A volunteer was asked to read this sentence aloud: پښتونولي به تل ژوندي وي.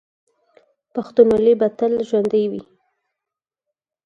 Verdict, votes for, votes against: accepted, 4, 2